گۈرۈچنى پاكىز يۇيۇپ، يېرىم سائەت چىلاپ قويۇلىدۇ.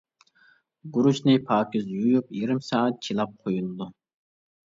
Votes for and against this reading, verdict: 1, 2, rejected